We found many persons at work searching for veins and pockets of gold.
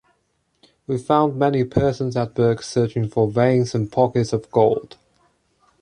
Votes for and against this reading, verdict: 2, 0, accepted